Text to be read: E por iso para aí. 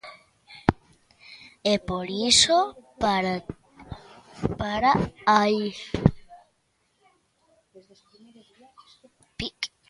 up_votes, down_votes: 0, 2